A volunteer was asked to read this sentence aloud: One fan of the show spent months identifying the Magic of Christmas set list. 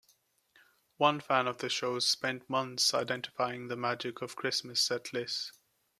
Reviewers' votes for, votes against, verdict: 2, 1, accepted